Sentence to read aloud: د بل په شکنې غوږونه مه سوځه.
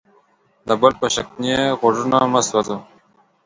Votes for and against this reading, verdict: 2, 1, accepted